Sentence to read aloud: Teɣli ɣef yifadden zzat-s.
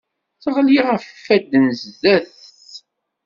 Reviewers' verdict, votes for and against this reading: rejected, 1, 2